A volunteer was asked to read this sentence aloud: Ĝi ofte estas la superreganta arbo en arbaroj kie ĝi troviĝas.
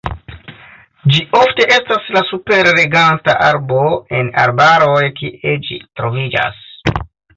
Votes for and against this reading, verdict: 2, 3, rejected